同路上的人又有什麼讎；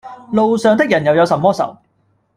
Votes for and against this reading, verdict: 0, 2, rejected